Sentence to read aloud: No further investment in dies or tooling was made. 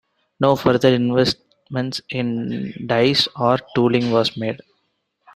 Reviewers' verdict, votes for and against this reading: accepted, 2, 0